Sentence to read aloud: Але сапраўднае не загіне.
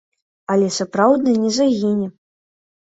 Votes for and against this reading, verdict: 2, 0, accepted